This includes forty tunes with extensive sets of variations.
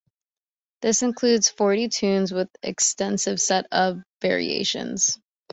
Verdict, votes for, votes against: rejected, 1, 2